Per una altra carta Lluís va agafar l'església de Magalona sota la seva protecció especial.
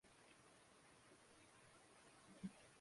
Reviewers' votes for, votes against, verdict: 0, 2, rejected